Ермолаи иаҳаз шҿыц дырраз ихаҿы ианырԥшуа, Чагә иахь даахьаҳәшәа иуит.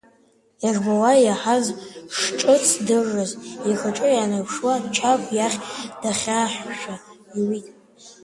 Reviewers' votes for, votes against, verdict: 0, 2, rejected